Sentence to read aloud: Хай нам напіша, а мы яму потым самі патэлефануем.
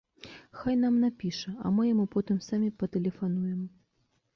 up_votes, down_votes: 2, 0